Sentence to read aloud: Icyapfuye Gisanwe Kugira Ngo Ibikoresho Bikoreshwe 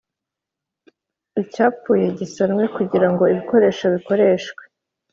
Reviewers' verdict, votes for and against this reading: accepted, 3, 0